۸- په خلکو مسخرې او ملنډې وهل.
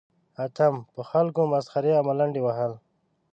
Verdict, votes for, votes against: rejected, 0, 2